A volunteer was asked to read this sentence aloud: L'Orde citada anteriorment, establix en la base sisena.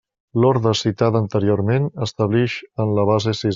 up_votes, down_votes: 0, 2